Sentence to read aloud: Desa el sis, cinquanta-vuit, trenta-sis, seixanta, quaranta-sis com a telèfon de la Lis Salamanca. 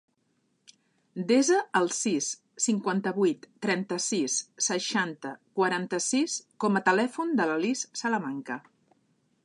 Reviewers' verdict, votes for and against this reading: accepted, 2, 0